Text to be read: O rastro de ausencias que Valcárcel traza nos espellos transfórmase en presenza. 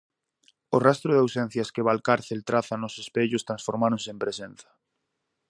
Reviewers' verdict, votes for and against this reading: rejected, 0, 4